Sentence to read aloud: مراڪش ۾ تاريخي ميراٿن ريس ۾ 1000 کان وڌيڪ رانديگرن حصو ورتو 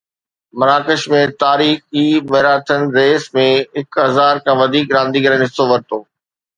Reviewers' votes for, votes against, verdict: 0, 2, rejected